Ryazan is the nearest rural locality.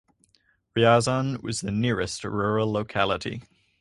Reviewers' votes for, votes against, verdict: 0, 4, rejected